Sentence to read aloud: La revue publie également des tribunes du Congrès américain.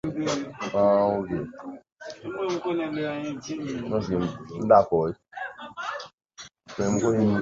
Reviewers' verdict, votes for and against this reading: rejected, 0, 2